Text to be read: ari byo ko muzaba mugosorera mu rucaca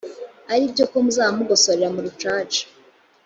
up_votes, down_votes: 3, 0